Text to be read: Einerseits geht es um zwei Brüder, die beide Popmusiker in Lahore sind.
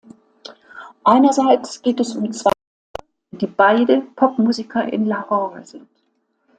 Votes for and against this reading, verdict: 0, 2, rejected